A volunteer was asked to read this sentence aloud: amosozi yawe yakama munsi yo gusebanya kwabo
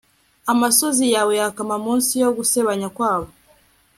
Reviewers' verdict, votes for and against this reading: rejected, 0, 2